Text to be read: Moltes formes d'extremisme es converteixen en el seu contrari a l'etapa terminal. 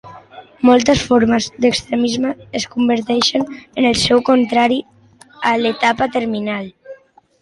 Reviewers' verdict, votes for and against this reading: accepted, 2, 1